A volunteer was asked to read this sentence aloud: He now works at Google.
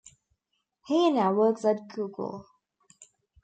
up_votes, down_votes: 0, 2